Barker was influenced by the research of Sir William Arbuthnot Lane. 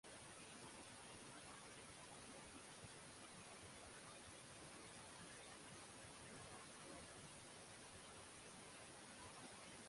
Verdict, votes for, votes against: rejected, 0, 6